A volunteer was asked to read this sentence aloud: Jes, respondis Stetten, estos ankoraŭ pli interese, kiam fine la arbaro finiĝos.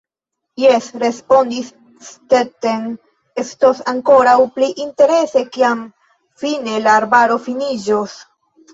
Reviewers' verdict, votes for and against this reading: rejected, 1, 3